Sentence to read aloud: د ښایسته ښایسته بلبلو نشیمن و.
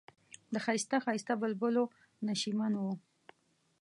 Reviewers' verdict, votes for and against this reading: accepted, 2, 0